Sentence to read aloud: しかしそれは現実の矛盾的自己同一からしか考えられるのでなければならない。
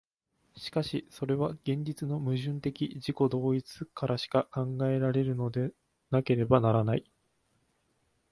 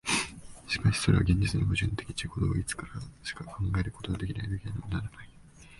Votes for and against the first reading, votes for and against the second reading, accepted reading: 5, 0, 1, 2, first